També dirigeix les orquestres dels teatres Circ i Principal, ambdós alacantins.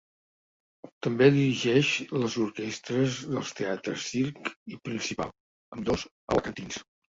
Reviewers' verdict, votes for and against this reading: accepted, 3, 1